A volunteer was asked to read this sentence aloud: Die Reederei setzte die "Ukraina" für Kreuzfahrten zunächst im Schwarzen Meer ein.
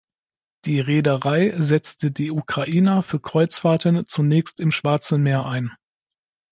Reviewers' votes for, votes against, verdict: 2, 0, accepted